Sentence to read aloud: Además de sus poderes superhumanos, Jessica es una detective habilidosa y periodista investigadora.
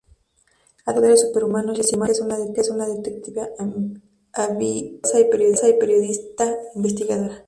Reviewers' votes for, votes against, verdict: 0, 2, rejected